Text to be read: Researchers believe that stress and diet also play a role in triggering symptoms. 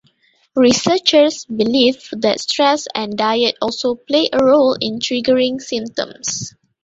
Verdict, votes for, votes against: accepted, 2, 0